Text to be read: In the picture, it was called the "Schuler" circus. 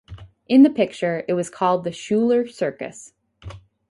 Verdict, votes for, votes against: accepted, 4, 0